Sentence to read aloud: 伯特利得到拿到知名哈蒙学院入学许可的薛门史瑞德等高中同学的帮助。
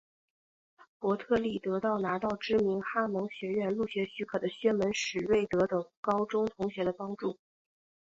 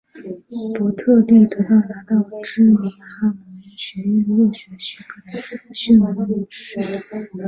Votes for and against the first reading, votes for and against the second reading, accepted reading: 2, 0, 1, 2, first